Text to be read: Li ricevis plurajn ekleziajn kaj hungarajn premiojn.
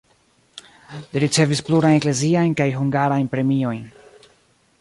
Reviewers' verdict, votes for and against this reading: accepted, 2, 0